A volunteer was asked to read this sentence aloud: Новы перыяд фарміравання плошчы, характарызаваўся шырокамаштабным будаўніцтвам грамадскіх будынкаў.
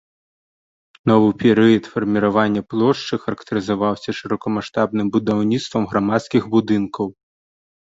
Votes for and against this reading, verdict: 2, 0, accepted